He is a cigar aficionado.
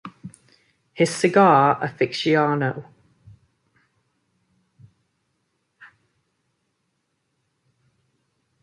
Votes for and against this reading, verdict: 0, 2, rejected